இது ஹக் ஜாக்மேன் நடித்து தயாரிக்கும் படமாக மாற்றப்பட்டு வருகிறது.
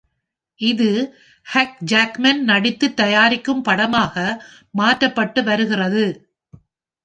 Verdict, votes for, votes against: accepted, 2, 0